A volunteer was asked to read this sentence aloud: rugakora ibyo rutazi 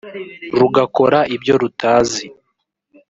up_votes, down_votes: 0, 2